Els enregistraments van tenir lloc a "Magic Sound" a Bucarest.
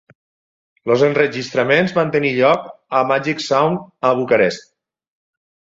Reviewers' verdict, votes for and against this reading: rejected, 2, 4